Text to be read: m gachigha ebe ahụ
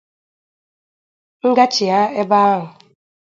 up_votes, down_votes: 2, 0